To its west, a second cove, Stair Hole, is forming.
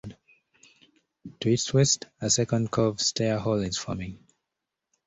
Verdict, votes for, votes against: accepted, 2, 0